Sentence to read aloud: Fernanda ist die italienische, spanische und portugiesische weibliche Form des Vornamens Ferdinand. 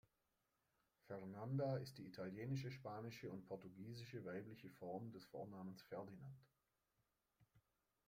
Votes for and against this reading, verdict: 2, 0, accepted